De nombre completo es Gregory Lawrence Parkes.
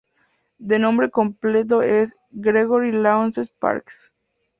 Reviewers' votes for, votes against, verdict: 0, 2, rejected